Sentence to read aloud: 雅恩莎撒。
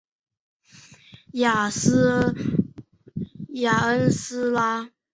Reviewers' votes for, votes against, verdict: 0, 3, rejected